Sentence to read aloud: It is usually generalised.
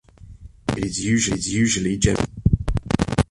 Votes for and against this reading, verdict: 0, 2, rejected